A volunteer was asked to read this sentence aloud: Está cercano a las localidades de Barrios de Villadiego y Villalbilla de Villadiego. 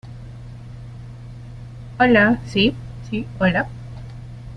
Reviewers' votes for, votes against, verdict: 0, 2, rejected